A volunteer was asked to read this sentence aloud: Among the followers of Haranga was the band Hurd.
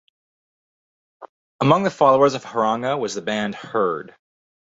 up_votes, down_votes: 4, 0